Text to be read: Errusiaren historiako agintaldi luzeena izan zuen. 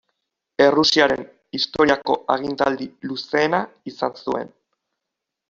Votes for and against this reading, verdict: 2, 0, accepted